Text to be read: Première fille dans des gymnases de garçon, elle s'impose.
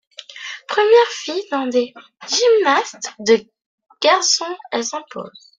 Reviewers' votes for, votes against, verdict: 1, 2, rejected